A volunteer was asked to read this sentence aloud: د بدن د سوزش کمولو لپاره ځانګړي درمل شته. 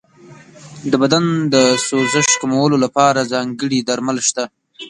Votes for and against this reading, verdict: 0, 2, rejected